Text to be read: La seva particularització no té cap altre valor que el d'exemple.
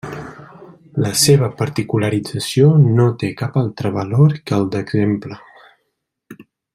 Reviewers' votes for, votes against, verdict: 3, 0, accepted